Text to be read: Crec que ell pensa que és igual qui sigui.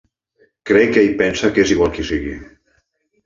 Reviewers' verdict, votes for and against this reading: accepted, 2, 0